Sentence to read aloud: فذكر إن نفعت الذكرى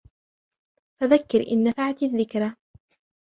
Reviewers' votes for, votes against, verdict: 2, 0, accepted